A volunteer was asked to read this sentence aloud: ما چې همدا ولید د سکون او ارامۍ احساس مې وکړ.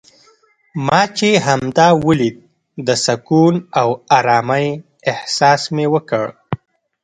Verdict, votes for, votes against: rejected, 0, 2